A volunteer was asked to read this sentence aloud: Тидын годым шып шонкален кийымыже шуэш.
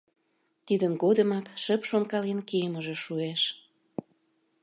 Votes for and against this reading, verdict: 0, 2, rejected